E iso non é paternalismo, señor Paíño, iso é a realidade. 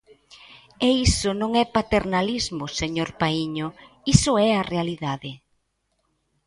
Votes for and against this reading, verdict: 2, 0, accepted